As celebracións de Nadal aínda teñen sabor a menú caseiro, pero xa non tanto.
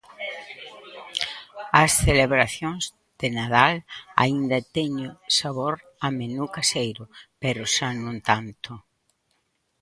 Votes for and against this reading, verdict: 1, 2, rejected